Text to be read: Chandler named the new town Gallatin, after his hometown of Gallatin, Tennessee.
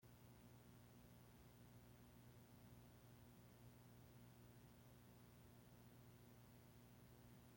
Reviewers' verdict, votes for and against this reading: rejected, 0, 2